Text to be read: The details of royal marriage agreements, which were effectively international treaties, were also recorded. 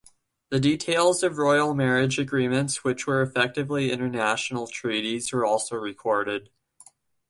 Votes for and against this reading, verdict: 2, 0, accepted